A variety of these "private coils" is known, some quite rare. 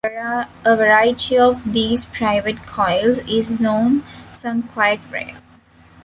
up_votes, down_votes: 2, 1